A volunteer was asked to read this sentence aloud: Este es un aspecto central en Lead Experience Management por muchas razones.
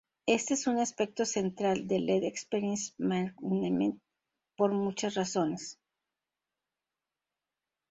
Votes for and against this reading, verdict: 4, 0, accepted